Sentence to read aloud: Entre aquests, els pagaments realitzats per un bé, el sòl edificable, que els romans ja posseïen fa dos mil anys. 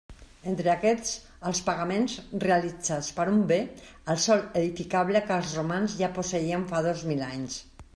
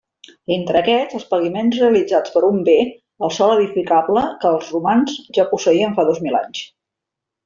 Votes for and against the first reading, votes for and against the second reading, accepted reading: 3, 0, 1, 2, first